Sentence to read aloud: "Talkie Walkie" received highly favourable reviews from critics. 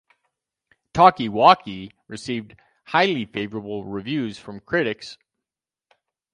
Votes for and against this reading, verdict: 2, 2, rejected